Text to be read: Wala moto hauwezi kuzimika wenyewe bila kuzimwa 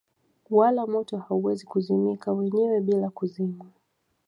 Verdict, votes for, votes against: accepted, 2, 0